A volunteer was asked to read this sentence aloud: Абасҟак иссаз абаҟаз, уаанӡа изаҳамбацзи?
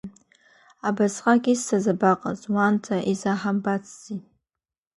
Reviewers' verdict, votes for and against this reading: accepted, 2, 0